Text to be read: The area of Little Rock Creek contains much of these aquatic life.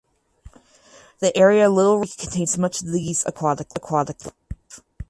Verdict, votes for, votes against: rejected, 0, 4